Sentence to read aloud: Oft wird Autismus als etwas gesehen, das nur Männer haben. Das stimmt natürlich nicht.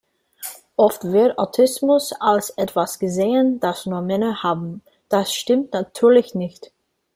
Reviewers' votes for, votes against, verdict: 2, 1, accepted